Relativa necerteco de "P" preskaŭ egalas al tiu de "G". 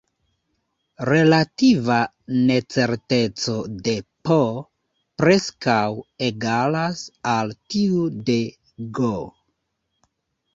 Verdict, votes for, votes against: accepted, 2, 0